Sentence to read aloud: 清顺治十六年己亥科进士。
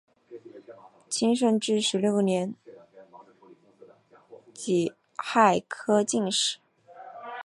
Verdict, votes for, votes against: accepted, 3, 2